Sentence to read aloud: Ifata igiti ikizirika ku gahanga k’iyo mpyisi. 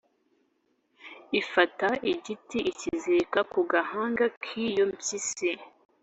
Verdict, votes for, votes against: accepted, 2, 0